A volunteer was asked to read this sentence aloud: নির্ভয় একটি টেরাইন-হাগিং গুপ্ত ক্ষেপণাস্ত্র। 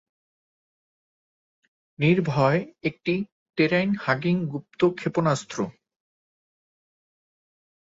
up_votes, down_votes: 7, 1